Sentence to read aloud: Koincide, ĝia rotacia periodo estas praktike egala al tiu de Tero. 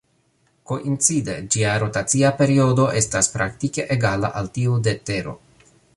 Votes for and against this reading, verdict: 2, 1, accepted